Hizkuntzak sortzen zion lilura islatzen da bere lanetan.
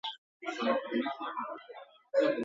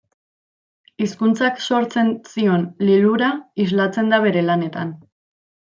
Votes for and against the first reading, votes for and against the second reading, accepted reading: 0, 10, 2, 0, second